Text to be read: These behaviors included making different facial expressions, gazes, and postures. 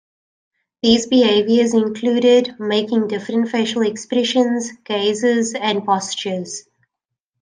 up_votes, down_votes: 2, 0